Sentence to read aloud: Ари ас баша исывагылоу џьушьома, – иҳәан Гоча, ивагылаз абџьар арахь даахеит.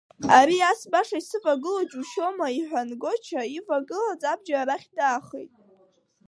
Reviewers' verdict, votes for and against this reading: accepted, 2, 1